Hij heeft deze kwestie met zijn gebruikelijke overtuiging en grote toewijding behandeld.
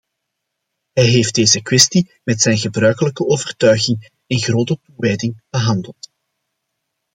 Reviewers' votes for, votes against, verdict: 0, 2, rejected